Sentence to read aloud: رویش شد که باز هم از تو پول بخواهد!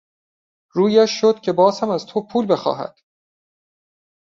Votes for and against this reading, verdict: 2, 0, accepted